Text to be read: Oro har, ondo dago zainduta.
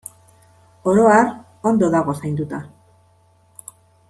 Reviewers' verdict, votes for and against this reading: accepted, 2, 0